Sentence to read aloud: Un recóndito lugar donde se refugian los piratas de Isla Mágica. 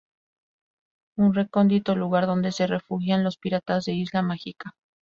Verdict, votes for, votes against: accepted, 8, 0